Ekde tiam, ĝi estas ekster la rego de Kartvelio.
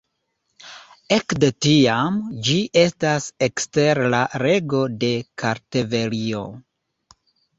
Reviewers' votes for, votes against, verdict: 2, 0, accepted